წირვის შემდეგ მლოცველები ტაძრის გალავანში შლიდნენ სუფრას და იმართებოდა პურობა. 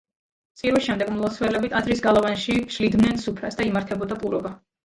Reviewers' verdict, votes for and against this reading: accepted, 2, 0